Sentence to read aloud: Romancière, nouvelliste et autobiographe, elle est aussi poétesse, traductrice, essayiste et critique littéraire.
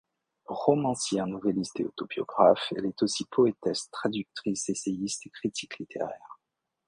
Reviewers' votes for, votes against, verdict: 2, 1, accepted